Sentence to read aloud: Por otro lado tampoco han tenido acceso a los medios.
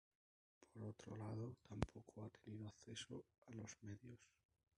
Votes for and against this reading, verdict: 0, 2, rejected